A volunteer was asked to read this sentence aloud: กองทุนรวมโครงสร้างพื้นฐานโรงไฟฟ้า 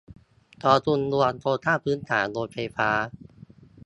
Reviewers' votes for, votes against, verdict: 0, 2, rejected